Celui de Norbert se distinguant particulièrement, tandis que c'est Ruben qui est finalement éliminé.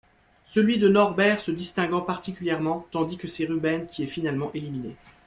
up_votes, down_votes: 2, 0